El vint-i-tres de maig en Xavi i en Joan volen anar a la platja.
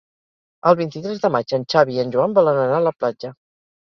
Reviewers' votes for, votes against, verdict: 4, 0, accepted